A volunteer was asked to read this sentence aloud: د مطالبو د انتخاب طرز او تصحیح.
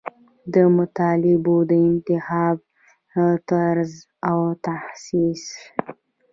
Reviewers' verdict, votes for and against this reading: rejected, 1, 2